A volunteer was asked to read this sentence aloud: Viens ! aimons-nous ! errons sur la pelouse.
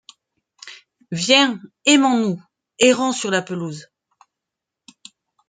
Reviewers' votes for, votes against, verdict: 2, 0, accepted